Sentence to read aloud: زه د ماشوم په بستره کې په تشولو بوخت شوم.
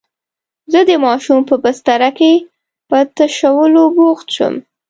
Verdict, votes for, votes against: accepted, 2, 0